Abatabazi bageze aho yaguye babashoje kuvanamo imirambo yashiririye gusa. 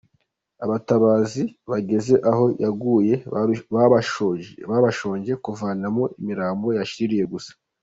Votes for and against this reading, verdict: 0, 2, rejected